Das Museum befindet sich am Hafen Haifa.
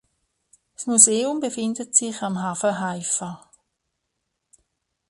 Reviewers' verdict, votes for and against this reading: accepted, 3, 1